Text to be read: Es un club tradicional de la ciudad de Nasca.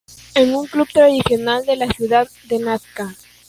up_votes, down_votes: 2, 1